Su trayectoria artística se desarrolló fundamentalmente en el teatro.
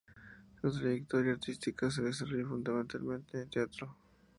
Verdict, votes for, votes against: rejected, 0, 2